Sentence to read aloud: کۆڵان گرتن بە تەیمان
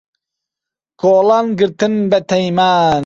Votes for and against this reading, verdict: 2, 0, accepted